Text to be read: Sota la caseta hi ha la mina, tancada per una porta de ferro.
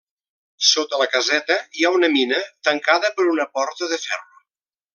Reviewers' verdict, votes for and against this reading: rejected, 1, 2